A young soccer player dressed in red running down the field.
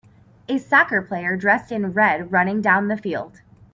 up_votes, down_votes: 2, 5